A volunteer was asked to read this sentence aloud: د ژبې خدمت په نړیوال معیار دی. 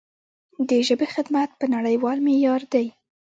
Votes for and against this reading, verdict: 0, 2, rejected